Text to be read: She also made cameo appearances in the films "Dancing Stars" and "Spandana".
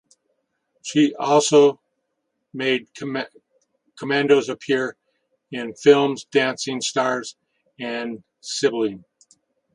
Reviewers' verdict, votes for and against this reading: rejected, 0, 4